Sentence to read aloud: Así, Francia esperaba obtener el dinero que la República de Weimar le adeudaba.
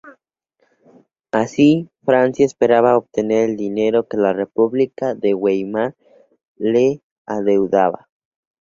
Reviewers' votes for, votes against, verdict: 2, 0, accepted